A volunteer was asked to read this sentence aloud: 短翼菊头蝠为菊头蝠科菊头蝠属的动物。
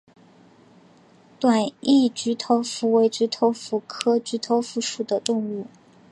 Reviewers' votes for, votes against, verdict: 2, 0, accepted